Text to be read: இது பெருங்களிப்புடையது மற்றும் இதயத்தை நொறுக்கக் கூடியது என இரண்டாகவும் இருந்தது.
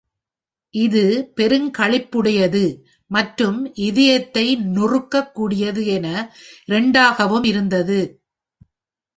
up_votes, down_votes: 1, 2